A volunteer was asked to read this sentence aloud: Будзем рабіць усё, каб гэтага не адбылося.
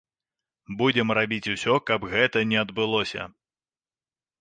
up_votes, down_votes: 0, 2